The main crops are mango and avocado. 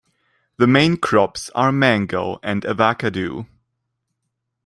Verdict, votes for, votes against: rejected, 0, 2